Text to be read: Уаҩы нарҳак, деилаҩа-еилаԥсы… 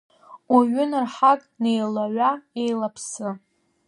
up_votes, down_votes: 2, 0